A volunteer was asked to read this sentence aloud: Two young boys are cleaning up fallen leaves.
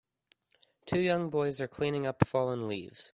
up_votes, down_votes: 3, 0